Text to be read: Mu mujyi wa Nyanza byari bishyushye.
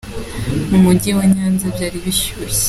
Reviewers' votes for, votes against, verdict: 2, 1, accepted